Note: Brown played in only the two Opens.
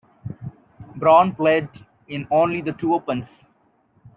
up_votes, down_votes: 0, 2